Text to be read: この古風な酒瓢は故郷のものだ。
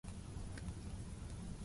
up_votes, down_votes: 0, 2